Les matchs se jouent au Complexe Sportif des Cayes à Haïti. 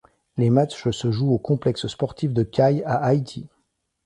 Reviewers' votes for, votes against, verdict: 1, 2, rejected